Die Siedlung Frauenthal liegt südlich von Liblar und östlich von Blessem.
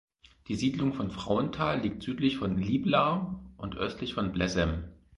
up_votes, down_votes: 2, 4